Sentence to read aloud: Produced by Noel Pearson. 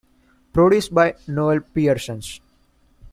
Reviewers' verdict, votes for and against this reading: accepted, 2, 1